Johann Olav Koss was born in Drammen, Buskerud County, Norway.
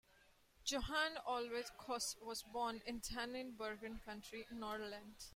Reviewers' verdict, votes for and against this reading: rejected, 0, 2